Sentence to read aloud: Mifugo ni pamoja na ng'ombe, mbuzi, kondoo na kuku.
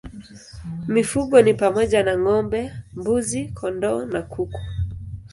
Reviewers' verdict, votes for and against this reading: accepted, 2, 0